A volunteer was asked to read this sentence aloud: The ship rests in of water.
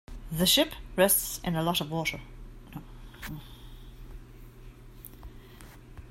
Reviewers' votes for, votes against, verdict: 0, 2, rejected